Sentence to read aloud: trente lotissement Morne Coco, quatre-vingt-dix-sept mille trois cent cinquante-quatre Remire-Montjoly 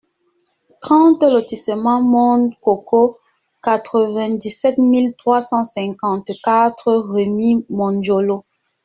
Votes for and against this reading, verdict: 0, 2, rejected